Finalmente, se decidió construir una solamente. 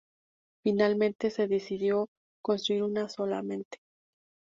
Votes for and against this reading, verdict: 0, 2, rejected